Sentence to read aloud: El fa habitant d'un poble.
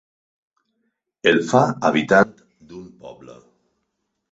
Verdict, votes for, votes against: accepted, 4, 0